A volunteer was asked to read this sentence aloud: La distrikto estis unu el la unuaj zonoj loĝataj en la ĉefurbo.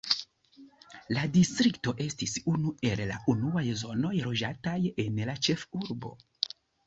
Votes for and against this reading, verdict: 2, 0, accepted